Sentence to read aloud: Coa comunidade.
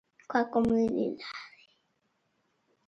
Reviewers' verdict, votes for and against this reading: rejected, 0, 2